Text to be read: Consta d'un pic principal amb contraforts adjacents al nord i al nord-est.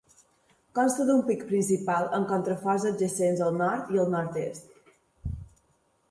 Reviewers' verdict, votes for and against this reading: accepted, 2, 0